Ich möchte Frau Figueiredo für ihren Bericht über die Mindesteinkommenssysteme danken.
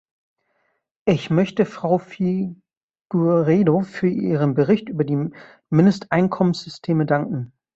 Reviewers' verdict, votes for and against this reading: rejected, 1, 2